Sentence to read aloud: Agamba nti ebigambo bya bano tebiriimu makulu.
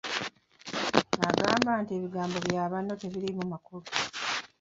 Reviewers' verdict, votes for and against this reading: rejected, 1, 2